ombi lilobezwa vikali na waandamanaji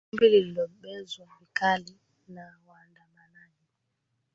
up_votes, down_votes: 0, 4